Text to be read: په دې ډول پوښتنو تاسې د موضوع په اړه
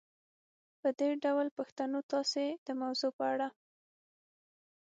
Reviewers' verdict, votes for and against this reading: accepted, 6, 0